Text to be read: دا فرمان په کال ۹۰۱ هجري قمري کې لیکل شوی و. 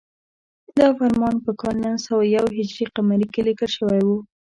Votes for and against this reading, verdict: 0, 2, rejected